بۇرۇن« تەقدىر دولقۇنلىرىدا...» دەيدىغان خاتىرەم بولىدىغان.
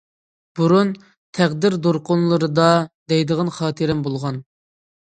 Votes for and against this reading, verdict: 0, 2, rejected